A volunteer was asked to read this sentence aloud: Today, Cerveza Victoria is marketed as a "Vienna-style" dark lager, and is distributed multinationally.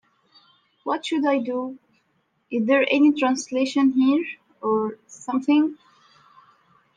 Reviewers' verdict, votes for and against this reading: rejected, 0, 2